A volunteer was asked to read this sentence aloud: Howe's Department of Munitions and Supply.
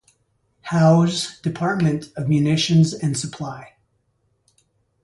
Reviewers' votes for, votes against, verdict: 2, 0, accepted